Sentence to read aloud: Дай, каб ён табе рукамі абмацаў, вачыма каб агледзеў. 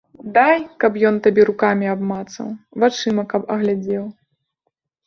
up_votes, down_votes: 1, 2